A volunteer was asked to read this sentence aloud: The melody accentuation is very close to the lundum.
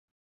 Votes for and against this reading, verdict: 0, 4, rejected